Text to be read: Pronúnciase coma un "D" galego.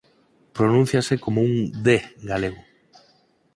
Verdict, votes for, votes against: accepted, 4, 0